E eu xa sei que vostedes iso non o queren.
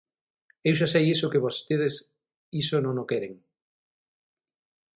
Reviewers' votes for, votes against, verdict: 0, 6, rejected